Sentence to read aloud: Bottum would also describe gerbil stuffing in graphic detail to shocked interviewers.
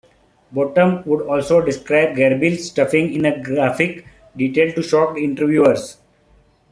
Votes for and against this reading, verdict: 0, 2, rejected